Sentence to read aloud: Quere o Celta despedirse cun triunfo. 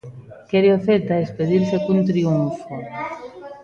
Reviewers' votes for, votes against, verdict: 2, 0, accepted